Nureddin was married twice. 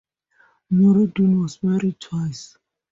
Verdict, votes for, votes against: accepted, 2, 0